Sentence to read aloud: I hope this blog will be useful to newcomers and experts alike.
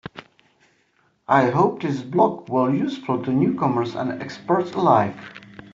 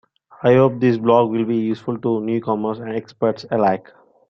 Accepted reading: second